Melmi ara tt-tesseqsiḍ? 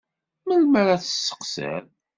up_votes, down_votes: 2, 0